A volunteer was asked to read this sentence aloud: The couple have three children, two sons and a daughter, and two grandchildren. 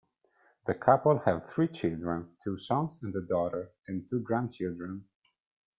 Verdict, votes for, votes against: accepted, 2, 0